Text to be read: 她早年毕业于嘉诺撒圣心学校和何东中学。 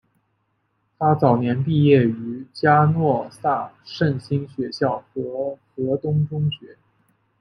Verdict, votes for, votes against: accepted, 2, 0